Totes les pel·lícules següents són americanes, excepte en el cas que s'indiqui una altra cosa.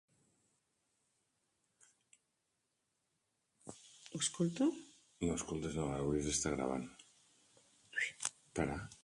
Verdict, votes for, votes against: rejected, 1, 2